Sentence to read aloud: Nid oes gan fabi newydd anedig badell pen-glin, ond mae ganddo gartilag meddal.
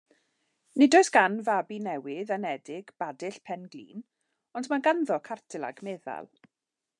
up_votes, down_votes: 1, 2